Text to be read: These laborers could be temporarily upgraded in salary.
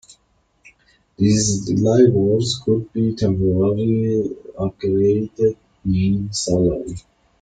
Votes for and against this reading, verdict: 1, 2, rejected